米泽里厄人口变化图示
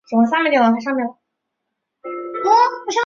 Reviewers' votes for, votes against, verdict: 0, 2, rejected